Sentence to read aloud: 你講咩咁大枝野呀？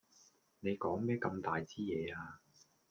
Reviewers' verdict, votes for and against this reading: rejected, 1, 2